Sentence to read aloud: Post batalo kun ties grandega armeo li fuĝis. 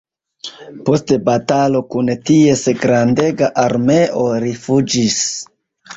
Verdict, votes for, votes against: rejected, 1, 2